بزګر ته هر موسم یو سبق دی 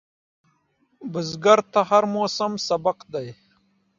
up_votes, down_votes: 2, 0